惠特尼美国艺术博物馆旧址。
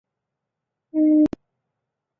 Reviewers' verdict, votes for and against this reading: rejected, 0, 2